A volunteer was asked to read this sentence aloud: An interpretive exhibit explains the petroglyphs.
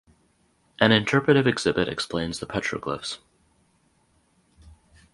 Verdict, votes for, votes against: accepted, 4, 2